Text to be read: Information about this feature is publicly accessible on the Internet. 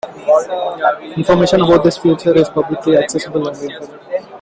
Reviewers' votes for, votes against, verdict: 1, 2, rejected